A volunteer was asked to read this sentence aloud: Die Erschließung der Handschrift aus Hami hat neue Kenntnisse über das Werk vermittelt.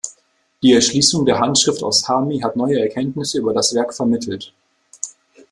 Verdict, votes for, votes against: rejected, 1, 2